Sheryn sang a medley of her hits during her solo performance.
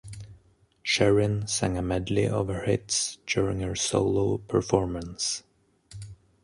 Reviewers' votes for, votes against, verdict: 2, 0, accepted